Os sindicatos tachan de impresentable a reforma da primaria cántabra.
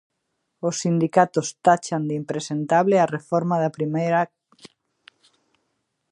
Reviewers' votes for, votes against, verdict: 0, 2, rejected